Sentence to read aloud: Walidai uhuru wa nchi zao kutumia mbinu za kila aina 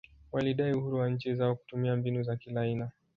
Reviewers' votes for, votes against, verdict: 0, 2, rejected